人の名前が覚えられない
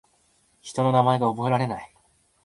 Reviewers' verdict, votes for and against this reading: accepted, 2, 0